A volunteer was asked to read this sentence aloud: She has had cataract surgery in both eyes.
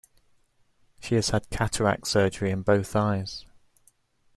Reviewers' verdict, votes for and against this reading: accepted, 2, 0